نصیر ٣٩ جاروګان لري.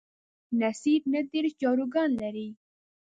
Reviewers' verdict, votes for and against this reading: rejected, 0, 2